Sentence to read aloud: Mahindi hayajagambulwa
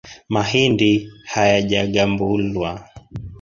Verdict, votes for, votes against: accepted, 3, 0